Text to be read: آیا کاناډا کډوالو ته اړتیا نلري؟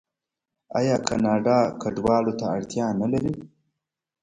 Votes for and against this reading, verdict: 0, 2, rejected